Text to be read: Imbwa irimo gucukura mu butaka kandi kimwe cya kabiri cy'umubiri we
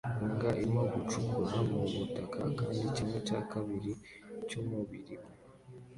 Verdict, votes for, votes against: accepted, 2, 1